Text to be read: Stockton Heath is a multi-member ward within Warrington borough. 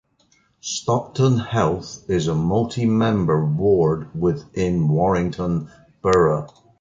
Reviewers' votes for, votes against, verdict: 0, 2, rejected